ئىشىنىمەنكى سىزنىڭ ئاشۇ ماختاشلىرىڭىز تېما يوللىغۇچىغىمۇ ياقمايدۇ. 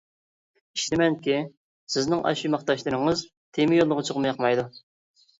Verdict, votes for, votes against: rejected, 0, 2